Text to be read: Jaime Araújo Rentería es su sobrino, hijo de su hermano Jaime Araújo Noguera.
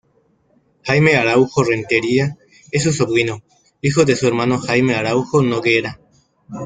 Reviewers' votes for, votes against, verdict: 2, 0, accepted